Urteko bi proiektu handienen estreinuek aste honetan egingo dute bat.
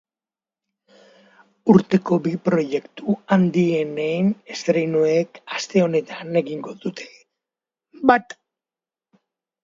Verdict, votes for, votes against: accepted, 2, 0